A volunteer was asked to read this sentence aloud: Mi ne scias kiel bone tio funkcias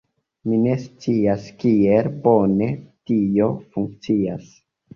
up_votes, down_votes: 2, 0